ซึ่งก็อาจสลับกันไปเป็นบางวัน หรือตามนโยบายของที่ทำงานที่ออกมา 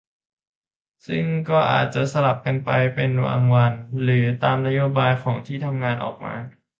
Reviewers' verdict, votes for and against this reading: rejected, 0, 2